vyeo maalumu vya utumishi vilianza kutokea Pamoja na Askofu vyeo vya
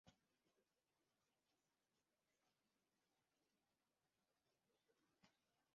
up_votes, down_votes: 0, 2